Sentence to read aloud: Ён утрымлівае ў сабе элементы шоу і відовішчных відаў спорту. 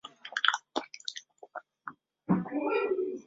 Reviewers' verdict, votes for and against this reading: rejected, 0, 2